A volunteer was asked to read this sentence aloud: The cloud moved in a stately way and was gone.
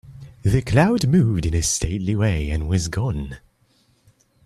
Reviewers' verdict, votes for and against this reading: accepted, 2, 0